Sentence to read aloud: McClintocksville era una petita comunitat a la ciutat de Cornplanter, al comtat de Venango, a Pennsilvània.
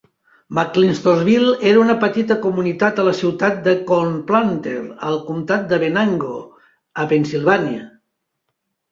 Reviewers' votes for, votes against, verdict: 2, 0, accepted